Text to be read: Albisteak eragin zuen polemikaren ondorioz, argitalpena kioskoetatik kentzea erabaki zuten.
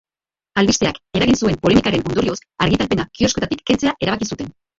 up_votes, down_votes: 1, 3